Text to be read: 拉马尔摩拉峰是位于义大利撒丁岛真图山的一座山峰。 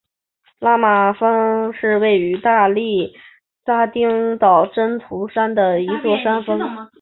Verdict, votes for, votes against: accepted, 5, 2